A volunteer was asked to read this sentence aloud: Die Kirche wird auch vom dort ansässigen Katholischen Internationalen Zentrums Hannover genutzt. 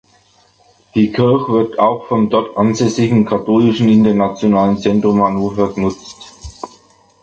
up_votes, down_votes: 2, 1